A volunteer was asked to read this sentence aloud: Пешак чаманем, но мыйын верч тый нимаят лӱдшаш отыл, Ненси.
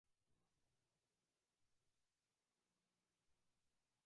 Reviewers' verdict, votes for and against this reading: rejected, 0, 2